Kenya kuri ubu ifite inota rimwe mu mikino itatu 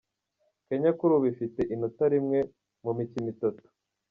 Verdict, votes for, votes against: accepted, 2, 0